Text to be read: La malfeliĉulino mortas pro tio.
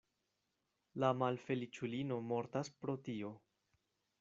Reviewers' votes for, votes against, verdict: 2, 0, accepted